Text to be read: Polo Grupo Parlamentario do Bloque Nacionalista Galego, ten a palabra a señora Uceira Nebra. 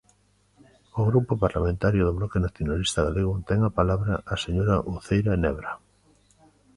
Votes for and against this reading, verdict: 1, 2, rejected